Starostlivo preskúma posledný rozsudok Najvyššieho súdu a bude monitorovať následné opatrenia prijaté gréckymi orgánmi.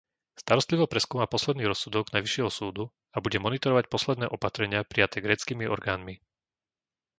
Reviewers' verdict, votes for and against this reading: rejected, 0, 2